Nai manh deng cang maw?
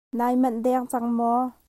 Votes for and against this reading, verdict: 2, 1, accepted